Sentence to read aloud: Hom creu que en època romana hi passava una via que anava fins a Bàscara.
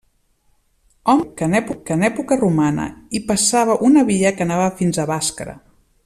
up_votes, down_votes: 0, 2